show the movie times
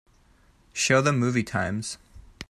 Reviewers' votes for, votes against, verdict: 2, 0, accepted